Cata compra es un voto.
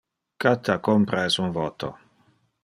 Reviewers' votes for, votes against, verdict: 2, 0, accepted